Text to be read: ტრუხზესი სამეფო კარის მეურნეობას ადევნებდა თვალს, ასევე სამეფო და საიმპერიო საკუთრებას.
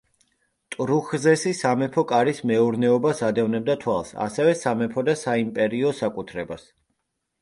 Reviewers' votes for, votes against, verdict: 2, 0, accepted